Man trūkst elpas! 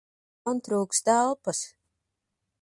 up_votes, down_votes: 1, 2